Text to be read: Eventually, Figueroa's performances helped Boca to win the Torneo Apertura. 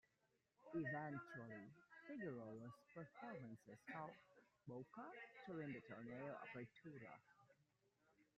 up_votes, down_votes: 0, 2